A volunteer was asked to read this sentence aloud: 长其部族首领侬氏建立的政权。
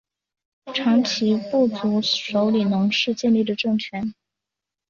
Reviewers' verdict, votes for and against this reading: accepted, 2, 1